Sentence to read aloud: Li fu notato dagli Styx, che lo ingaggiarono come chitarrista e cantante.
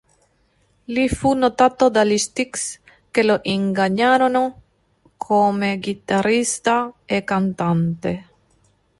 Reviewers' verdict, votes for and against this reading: rejected, 1, 2